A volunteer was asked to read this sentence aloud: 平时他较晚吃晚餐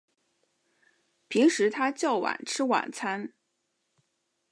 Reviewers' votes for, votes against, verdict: 2, 0, accepted